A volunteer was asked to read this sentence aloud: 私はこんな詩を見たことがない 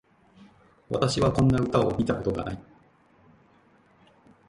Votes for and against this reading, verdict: 0, 2, rejected